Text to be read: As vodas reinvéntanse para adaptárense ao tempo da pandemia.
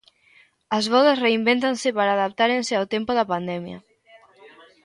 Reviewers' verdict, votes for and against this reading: accepted, 2, 0